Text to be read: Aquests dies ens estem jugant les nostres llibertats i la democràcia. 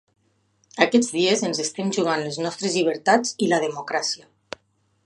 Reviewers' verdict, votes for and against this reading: accepted, 3, 0